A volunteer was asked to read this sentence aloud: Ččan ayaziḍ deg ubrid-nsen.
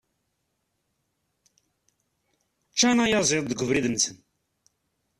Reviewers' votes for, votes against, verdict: 1, 2, rejected